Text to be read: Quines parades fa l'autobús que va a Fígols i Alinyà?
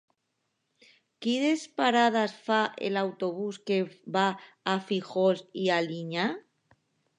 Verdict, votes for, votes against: rejected, 1, 2